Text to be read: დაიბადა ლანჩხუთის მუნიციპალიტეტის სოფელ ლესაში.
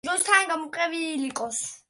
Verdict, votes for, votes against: rejected, 1, 2